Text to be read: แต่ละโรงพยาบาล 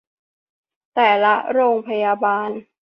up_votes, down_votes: 2, 0